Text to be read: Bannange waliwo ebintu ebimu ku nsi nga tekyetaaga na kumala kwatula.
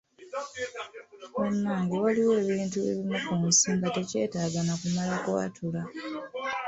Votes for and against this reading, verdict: 2, 0, accepted